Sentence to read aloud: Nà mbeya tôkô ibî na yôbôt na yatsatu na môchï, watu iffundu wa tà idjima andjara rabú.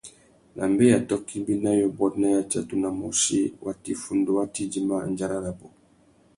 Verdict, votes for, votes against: accepted, 2, 0